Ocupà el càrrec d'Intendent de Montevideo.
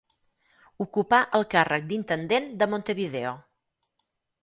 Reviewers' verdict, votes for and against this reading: accepted, 4, 0